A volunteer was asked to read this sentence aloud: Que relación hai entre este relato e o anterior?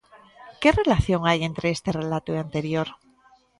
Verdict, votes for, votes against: rejected, 1, 2